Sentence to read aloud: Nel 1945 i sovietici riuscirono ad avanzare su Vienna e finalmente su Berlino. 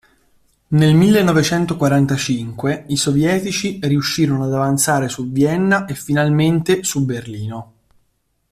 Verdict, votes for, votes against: rejected, 0, 2